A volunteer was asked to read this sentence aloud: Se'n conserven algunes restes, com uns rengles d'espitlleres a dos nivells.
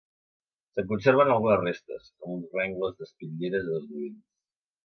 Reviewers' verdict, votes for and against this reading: rejected, 1, 3